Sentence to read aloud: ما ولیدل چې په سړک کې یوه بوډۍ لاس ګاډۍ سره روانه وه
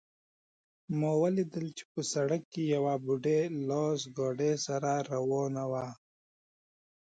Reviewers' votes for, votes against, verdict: 2, 0, accepted